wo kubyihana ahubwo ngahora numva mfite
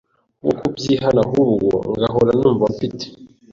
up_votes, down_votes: 2, 0